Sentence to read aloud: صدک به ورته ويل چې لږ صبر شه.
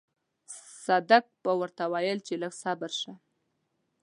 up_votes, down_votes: 2, 0